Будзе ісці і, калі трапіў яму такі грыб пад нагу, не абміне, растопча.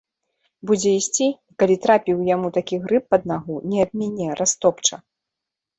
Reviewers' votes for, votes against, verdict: 1, 2, rejected